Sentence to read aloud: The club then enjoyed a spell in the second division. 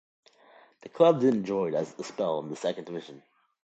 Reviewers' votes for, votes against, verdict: 1, 2, rejected